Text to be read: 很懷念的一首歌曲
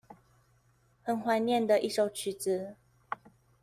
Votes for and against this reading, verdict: 0, 2, rejected